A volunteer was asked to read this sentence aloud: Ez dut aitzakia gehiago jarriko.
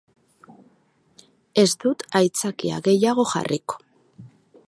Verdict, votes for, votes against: accepted, 6, 0